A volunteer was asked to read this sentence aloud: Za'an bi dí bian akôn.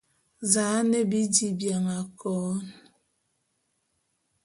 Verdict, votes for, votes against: accepted, 2, 0